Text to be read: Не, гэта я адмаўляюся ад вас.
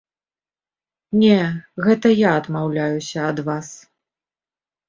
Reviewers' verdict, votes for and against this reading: accepted, 2, 0